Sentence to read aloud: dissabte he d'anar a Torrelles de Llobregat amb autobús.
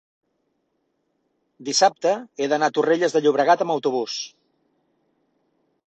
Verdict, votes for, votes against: accepted, 3, 0